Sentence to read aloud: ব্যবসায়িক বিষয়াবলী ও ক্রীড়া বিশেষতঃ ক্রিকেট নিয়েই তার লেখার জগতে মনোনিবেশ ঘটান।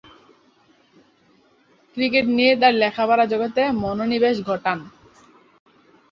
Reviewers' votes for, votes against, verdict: 0, 3, rejected